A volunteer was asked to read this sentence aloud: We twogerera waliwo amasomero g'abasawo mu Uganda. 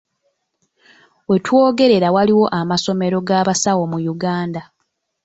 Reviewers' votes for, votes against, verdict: 0, 2, rejected